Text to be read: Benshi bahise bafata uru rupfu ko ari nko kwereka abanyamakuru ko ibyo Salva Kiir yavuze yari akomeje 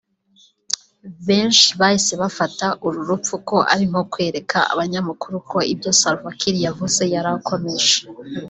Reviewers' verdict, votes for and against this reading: accepted, 2, 0